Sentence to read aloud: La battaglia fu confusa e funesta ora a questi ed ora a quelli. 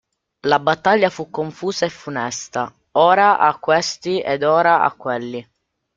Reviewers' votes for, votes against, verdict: 2, 1, accepted